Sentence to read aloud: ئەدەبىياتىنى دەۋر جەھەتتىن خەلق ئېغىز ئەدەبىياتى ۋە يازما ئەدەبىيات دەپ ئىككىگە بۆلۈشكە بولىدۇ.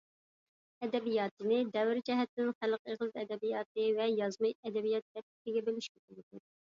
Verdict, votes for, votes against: accepted, 2, 1